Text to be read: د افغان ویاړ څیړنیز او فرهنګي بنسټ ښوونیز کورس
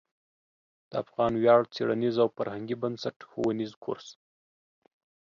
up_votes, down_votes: 2, 0